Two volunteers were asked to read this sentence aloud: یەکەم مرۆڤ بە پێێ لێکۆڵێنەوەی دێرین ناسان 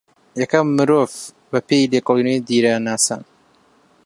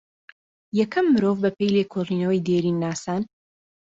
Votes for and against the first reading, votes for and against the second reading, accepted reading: 0, 2, 2, 0, second